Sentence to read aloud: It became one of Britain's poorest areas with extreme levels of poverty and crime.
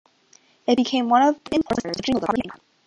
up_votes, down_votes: 0, 2